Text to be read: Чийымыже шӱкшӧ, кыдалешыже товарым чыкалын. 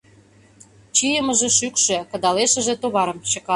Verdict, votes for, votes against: rejected, 0, 2